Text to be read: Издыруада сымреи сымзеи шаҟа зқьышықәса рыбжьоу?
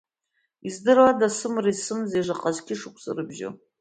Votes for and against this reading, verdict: 1, 2, rejected